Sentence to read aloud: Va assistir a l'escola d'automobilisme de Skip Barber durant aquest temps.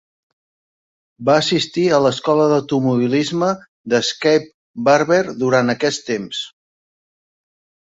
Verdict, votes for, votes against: rejected, 0, 2